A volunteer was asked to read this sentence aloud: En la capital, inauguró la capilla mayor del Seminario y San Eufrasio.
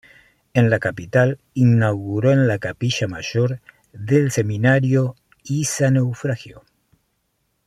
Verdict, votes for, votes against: rejected, 0, 2